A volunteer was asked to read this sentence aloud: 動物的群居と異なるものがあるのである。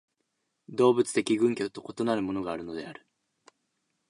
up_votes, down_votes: 1, 2